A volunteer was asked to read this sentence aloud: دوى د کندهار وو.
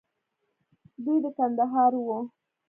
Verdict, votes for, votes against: accepted, 2, 0